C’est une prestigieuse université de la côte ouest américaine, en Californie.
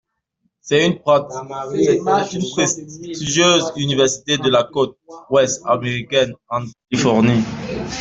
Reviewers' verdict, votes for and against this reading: rejected, 0, 2